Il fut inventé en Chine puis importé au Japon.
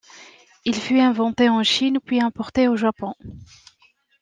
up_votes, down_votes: 2, 0